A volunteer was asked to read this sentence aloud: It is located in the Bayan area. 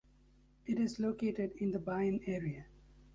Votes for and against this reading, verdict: 2, 1, accepted